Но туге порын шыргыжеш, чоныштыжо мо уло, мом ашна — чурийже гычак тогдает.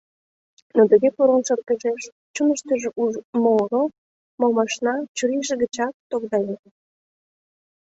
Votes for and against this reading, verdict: 1, 2, rejected